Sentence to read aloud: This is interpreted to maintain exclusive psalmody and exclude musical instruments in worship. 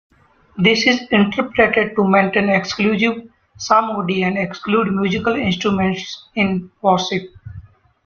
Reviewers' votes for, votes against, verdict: 0, 2, rejected